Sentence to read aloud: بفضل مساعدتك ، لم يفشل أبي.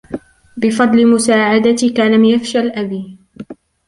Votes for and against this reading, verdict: 3, 0, accepted